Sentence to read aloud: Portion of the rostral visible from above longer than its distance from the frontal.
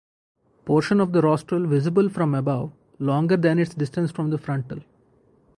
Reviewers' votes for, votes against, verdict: 0, 2, rejected